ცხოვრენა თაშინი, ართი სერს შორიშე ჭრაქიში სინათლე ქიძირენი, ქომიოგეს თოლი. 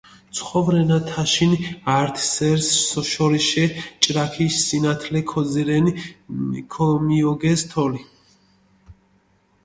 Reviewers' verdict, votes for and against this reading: rejected, 1, 2